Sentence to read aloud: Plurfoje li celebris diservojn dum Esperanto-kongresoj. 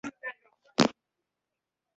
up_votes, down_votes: 0, 2